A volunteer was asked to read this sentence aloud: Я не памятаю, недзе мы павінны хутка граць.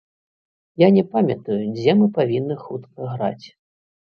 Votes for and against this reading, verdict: 1, 2, rejected